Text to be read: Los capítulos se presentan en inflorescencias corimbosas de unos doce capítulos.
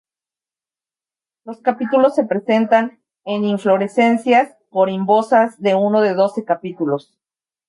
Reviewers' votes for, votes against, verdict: 0, 2, rejected